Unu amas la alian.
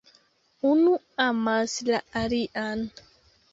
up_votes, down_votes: 2, 1